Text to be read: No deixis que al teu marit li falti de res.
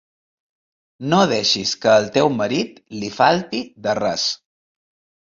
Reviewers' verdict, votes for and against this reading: accepted, 3, 0